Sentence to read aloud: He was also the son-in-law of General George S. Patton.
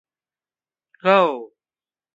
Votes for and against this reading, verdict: 0, 2, rejected